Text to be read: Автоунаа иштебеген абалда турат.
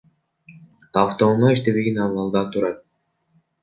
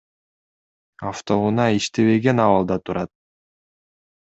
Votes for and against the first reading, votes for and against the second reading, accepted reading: 0, 2, 2, 0, second